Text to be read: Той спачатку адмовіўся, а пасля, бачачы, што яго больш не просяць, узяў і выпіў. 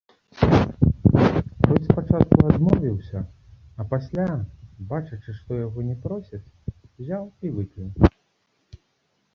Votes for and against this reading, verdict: 0, 2, rejected